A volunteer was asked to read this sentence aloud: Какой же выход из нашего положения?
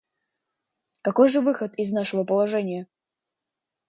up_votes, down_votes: 1, 2